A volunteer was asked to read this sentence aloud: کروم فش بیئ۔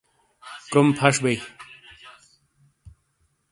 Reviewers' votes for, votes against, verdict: 2, 0, accepted